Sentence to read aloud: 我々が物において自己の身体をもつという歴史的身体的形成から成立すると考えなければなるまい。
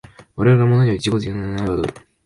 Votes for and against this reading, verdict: 0, 2, rejected